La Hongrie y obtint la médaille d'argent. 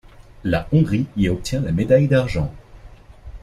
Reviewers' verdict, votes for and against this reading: rejected, 1, 2